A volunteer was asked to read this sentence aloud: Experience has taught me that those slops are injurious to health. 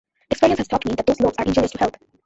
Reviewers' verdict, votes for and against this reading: rejected, 0, 2